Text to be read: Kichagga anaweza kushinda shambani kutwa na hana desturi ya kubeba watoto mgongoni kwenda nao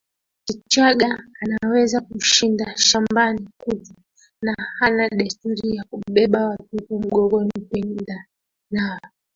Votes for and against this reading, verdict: 3, 0, accepted